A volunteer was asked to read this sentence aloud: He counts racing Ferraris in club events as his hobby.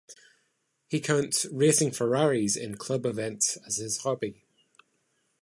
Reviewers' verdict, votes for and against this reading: accepted, 2, 0